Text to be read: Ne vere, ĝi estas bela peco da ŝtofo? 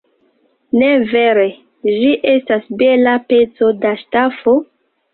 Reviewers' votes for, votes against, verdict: 2, 0, accepted